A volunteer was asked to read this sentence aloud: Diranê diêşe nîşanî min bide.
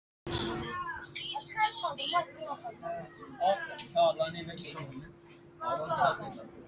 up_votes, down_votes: 0, 2